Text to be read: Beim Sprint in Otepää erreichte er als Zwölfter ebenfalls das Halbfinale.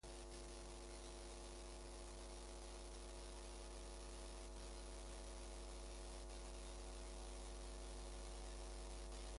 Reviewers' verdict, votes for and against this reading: rejected, 0, 2